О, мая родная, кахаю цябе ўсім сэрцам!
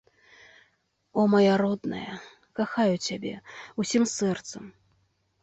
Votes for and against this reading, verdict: 2, 0, accepted